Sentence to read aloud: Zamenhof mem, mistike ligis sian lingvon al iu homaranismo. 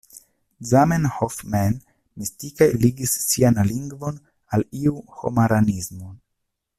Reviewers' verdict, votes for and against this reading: accepted, 2, 0